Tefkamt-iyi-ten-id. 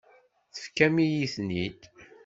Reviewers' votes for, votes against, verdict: 1, 2, rejected